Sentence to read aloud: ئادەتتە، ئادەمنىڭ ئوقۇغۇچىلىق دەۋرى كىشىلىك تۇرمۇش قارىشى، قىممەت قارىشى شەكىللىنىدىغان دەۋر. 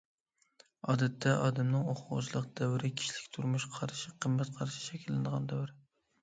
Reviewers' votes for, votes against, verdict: 2, 0, accepted